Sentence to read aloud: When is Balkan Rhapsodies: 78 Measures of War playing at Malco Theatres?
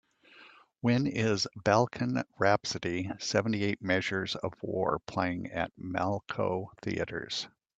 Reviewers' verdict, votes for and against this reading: rejected, 0, 2